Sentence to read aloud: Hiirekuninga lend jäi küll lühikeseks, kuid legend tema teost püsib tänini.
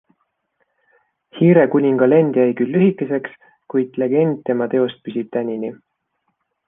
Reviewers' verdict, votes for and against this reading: accepted, 2, 1